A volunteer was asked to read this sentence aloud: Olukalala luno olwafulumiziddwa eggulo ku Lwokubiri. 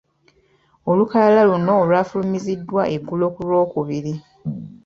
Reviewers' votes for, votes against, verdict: 2, 0, accepted